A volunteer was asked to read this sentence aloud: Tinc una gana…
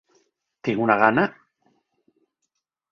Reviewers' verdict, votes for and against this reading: accepted, 3, 0